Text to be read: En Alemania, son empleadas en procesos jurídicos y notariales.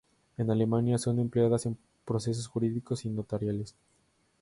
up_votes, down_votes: 2, 0